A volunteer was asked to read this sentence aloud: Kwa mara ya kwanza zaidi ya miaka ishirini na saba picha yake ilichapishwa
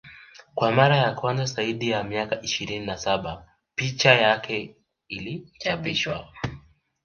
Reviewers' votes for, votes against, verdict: 2, 0, accepted